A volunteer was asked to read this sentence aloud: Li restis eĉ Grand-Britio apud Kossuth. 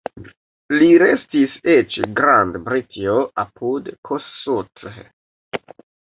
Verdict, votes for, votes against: accepted, 2, 0